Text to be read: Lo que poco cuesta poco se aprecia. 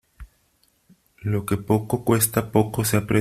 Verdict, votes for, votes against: rejected, 0, 3